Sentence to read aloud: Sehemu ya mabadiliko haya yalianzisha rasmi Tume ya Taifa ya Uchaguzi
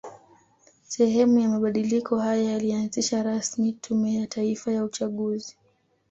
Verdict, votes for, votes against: accepted, 2, 0